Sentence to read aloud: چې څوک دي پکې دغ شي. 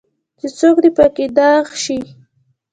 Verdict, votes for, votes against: rejected, 0, 2